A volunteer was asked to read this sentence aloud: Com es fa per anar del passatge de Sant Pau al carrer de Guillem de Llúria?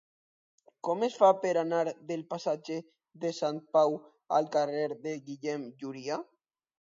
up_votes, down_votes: 0, 2